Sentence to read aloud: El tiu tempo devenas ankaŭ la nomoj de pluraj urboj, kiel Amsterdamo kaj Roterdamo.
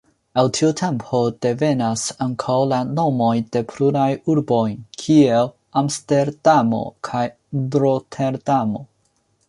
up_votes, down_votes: 1, 2